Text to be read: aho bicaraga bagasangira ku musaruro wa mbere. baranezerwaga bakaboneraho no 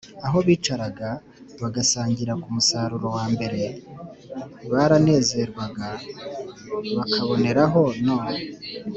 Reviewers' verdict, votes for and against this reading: accepted, 2, 0